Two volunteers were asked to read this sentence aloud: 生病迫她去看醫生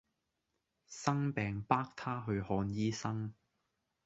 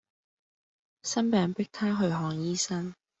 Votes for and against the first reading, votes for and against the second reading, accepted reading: 0, 2, 2, 0, second